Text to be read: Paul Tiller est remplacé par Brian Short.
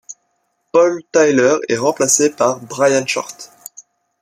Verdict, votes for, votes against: accepted, 2, 0